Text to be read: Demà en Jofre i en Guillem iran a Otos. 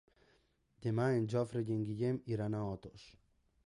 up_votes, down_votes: 3, 1